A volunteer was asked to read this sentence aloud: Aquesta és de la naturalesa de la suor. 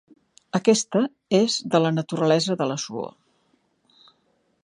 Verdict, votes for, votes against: accepted, 3, 0